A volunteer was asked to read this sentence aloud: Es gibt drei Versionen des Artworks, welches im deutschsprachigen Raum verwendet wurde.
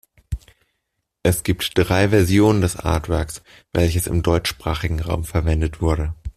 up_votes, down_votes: 2, 0